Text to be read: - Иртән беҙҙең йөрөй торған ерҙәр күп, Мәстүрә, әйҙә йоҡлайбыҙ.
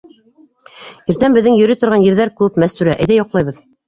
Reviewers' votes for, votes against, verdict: 0, 2, rejected